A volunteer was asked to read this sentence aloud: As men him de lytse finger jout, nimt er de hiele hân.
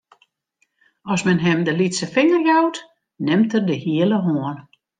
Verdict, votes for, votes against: accepted, 2, 1